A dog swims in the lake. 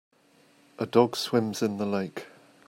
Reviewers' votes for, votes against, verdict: 2, 0, accepted